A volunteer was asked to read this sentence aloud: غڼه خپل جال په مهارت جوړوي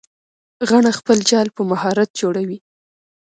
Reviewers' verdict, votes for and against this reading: accepted, 2, 0